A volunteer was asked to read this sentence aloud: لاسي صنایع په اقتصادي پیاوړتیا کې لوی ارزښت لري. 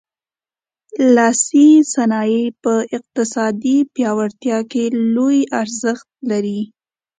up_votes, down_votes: 2, 0